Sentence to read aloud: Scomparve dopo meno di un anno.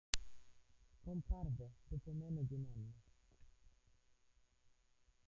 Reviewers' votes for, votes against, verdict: 0, 2, rejected